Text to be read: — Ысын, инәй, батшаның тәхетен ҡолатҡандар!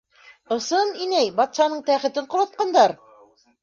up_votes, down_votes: 0, 2